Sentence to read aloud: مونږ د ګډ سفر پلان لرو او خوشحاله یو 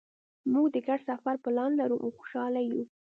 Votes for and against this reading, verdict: 2, 0, accepted